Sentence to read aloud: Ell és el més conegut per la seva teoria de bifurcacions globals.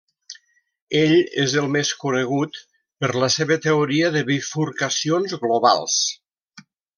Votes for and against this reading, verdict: 3, 0, accepted